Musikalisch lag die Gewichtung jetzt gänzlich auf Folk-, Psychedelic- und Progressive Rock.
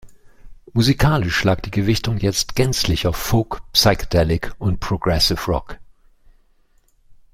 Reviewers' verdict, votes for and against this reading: accepted, 2, 0